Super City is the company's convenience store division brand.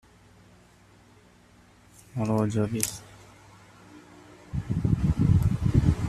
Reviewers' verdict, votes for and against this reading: rejected, 0, 2